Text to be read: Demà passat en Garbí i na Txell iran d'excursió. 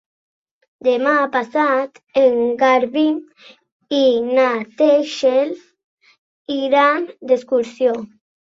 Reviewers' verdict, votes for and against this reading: rejected, 0, 3